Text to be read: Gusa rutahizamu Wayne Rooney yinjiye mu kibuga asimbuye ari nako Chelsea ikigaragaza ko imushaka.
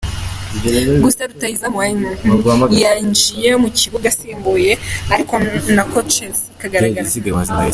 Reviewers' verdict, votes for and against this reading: rejected, 1, 2